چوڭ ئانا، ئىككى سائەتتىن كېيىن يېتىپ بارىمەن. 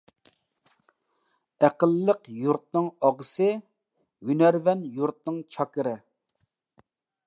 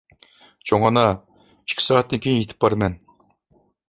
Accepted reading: second